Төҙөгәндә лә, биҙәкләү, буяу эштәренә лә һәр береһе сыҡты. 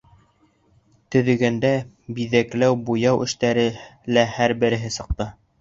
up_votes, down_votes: 0, 2